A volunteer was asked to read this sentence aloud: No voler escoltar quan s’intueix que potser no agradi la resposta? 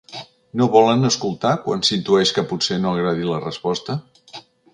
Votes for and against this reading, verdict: 1, 2, rejected